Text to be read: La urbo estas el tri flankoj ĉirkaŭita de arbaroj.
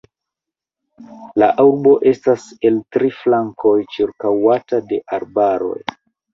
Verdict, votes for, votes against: rejected, 0, 4